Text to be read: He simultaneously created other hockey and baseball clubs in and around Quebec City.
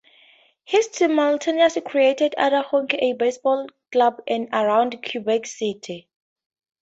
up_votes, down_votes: 0, 2